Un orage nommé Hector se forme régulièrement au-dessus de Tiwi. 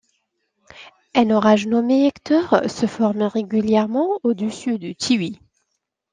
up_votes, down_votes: 2, 0